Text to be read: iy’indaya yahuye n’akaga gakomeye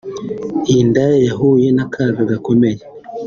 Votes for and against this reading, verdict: 2, 0, accepted